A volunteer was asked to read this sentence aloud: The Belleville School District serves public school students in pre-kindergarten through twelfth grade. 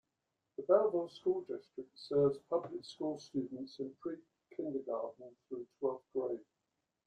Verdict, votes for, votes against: accepted, 2, 0